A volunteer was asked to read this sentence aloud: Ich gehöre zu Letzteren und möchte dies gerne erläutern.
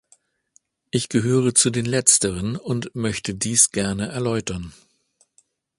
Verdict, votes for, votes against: rejected, 1, 2